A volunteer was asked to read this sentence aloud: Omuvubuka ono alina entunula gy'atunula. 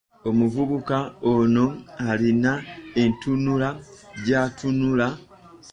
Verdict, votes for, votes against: accepted, 2, 0